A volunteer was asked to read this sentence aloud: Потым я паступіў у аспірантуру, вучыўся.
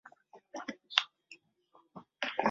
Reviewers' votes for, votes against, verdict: 0, 2, rejected